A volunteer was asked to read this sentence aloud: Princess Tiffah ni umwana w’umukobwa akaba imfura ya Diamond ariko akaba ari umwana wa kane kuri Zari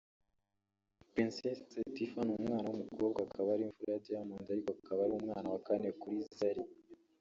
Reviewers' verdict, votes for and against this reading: rejected, 1, 2